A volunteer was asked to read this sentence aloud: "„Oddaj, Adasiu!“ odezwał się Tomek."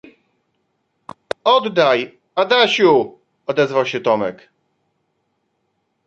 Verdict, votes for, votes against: accepted, 2, 1